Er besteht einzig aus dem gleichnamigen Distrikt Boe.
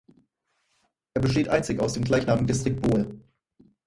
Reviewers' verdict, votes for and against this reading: rejected, 2, 4